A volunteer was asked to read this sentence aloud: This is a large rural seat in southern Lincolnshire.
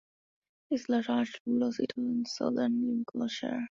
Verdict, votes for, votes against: accepted, 2, 1